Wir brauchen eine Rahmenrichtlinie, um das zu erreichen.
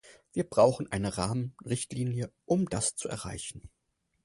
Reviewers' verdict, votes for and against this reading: accepted, 4, 0